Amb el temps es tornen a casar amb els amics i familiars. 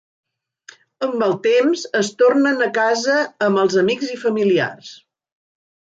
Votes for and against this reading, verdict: 0, 2, rejected